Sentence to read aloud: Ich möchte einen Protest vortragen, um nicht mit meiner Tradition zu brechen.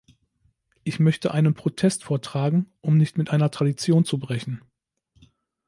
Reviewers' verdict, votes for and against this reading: rejected, 1, 2